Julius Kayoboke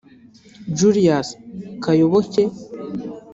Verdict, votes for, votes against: rejected, 1, 2